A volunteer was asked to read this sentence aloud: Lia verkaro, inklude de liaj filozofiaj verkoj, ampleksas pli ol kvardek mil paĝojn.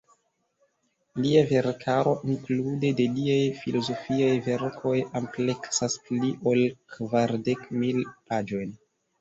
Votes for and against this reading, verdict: 0, 2, rejected